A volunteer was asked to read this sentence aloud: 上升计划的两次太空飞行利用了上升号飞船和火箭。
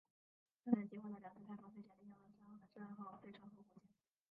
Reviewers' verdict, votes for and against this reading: rejected, 0, 2